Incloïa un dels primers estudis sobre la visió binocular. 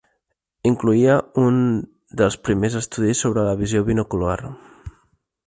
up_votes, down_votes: 3, 0